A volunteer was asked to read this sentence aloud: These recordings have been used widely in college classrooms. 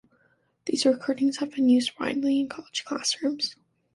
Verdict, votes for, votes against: accepted, 2, 0